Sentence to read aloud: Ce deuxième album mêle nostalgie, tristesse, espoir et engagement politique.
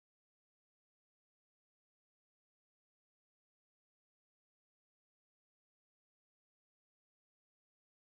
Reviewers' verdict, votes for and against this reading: rejected, 0, 2